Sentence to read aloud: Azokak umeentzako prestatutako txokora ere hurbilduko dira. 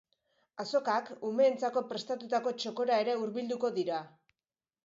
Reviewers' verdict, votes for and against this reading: accepted, 2, 0